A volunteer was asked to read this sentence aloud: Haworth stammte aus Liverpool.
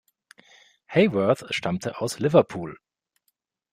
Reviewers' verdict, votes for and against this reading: accepted, 2, 0